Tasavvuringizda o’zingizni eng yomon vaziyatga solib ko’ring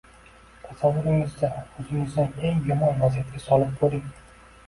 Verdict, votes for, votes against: rejected, 1, 2